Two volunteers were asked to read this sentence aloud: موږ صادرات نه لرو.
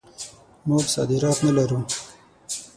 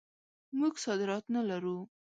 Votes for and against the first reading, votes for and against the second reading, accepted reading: 0, 6, 2, 0, second